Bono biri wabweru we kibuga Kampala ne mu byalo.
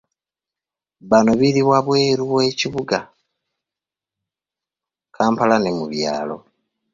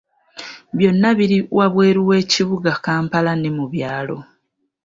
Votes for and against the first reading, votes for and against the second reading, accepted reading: 1, 2, 2, 1, second